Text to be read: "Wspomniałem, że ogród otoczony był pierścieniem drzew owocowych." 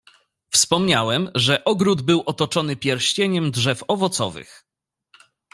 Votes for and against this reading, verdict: 0, 2, rejected